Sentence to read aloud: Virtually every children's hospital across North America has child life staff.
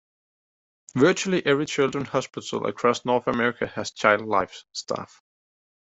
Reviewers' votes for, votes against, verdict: 1, 2, rejected